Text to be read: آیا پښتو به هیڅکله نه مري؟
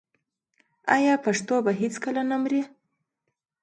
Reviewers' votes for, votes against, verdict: 2, 0, accepted